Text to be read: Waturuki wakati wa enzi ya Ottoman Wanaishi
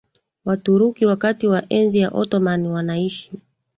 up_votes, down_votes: 3, 1